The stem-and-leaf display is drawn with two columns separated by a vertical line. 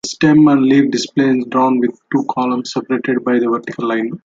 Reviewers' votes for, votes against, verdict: 2, 0, accepted